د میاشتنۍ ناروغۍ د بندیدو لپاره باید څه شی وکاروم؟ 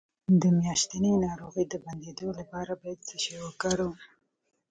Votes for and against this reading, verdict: 2, 1, accepted